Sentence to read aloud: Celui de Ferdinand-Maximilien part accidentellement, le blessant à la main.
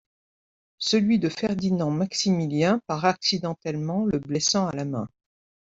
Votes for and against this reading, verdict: 2, 0, accepted